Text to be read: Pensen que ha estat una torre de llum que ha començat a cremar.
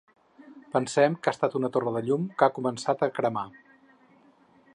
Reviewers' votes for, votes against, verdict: 2, 4, rejected